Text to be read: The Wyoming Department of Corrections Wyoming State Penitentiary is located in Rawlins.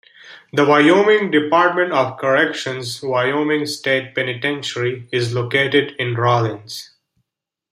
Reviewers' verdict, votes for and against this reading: accepted, 2, 0